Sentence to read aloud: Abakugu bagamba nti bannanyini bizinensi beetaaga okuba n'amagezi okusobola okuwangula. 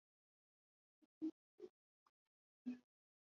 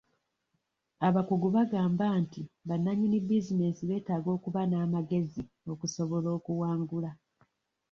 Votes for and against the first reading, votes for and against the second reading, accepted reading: 0, 2, 2, 0, second